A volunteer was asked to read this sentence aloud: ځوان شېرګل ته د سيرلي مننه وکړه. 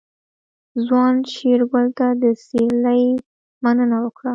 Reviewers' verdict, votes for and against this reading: accepted, 2, 0